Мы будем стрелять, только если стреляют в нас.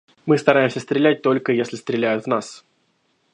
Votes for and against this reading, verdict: 1, 2, rejected